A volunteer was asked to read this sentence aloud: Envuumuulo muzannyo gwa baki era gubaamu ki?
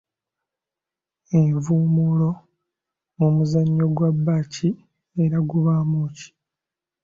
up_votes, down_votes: 2, 1